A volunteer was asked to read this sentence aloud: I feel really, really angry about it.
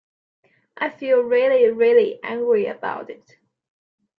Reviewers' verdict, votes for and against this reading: accepted, 2, 0